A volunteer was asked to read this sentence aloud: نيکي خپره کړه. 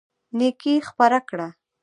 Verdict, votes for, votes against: rejected, 1, 2